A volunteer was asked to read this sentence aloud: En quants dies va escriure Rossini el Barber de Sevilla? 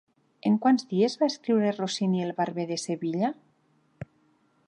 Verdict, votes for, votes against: accepted, 3, 0